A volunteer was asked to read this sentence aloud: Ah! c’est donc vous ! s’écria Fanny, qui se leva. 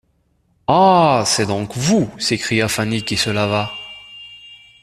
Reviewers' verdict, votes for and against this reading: rejected, 0, 2